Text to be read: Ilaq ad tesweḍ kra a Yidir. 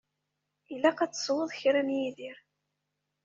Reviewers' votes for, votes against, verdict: 0, 2, rejected